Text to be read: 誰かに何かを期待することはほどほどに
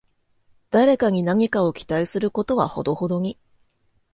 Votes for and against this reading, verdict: 2, 0, accepted